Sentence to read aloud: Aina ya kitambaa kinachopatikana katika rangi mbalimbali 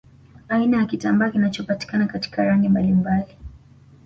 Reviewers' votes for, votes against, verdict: 2, 0, accepted